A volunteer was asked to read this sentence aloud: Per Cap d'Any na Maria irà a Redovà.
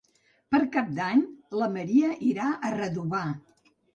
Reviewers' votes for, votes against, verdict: 0, 3, rejected